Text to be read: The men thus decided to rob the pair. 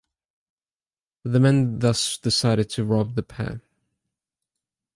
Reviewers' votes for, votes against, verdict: 2, 0, accepted